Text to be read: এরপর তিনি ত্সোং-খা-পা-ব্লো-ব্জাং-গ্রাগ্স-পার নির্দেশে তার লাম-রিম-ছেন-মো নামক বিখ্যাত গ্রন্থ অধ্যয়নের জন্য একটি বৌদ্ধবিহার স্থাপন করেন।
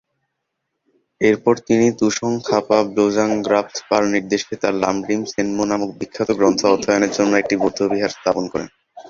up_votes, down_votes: 2, 0